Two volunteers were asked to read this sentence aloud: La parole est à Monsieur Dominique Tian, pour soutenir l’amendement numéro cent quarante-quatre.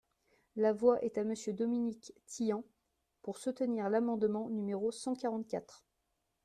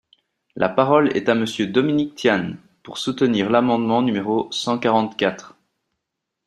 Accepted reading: second